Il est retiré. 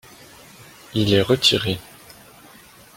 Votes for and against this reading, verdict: 2, 0, accepted